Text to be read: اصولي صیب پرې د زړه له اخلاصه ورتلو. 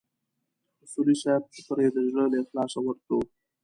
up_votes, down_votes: 1, 2